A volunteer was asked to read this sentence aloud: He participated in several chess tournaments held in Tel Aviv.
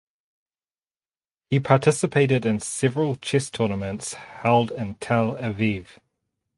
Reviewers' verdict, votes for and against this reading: rejected, 0, 4